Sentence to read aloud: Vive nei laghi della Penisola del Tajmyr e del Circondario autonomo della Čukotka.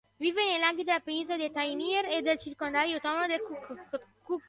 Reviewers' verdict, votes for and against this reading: rejected, 0, 2